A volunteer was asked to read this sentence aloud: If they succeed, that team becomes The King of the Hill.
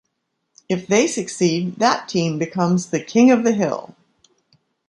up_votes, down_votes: 2, 0